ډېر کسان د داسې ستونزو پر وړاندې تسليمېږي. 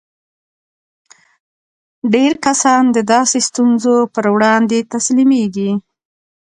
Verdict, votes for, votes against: accepted, 2, 1